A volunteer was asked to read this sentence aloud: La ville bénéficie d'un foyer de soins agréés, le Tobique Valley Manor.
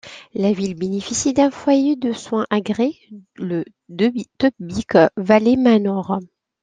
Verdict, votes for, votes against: accepted, 2, 1